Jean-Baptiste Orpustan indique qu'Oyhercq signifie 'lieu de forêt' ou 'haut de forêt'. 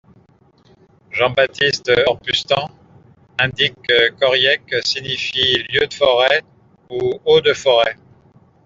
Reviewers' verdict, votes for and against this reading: accepted, 2, 0